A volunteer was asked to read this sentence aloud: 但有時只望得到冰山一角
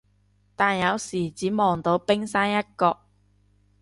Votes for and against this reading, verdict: 0, 2, rejected